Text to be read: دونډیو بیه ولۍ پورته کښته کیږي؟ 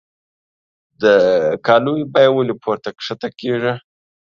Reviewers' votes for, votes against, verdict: 0, 2, rejected